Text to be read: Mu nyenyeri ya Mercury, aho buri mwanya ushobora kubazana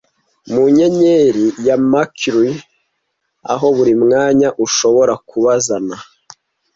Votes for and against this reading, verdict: 2, 0, accepted